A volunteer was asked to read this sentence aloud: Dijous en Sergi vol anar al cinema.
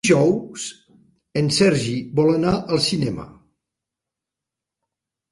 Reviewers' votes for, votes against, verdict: 1, 2, rejected